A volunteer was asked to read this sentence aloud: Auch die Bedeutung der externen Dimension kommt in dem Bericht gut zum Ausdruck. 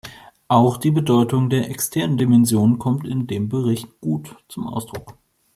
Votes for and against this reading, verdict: 2, 0, accepted